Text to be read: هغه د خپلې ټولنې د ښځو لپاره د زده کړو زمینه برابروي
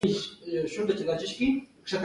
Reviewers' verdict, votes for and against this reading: rejected, 1, 2